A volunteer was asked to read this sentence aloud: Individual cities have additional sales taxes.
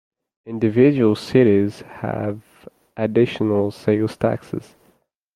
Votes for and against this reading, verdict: 2, 0, accepted